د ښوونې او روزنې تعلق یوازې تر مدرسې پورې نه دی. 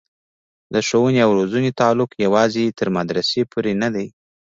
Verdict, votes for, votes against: accepted, 2, 1